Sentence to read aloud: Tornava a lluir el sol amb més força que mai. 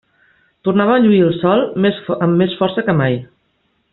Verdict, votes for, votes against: rejected, 1, 2